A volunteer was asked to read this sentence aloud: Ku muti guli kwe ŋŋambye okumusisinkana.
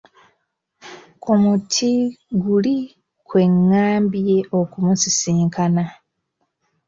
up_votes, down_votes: 2, 0